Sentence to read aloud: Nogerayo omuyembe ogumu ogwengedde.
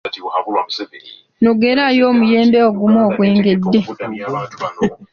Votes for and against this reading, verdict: 2, 0, accepted